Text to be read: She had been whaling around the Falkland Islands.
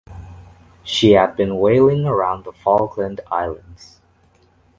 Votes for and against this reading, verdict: 2, 0, accepted